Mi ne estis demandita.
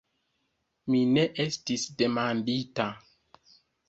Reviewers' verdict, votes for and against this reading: accepted, 3, 0